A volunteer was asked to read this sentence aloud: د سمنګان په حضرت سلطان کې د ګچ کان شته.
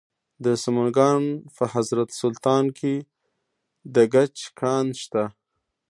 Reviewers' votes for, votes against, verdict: 0, 2, rejected